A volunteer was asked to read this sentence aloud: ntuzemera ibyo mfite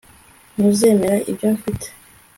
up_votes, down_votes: 2, 0